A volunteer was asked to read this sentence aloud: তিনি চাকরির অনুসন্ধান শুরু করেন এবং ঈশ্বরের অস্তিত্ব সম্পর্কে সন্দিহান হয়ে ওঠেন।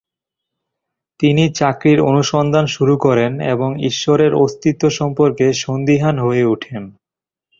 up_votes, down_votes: 2, 0